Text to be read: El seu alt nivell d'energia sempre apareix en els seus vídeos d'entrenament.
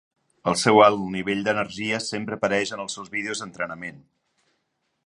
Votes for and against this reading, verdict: 4, 0, accepted